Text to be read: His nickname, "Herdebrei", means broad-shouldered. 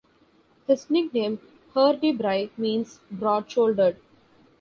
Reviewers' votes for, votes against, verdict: 2, 0, accepted